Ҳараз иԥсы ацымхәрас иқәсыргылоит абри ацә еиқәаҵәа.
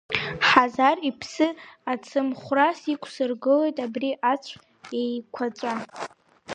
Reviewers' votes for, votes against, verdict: 0, 2, rejected